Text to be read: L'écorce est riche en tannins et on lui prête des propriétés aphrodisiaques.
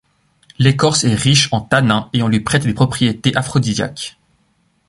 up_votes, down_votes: 0, 2